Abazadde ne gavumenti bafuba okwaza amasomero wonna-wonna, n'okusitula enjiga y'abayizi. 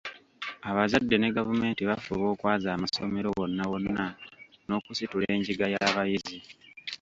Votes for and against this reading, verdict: 0, 2, rejected